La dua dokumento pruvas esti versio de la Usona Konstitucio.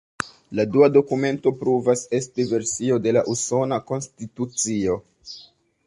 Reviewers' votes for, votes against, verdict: 1, 2, rejected